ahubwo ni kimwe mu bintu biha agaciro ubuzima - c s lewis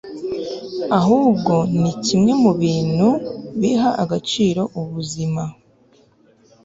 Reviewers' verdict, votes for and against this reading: rejected, 0, 2